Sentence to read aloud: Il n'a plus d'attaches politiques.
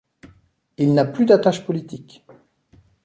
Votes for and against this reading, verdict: 2, 0, accepted